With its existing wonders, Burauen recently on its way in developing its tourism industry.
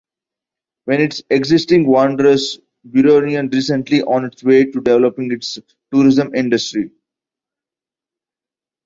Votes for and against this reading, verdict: 0, 2, rejected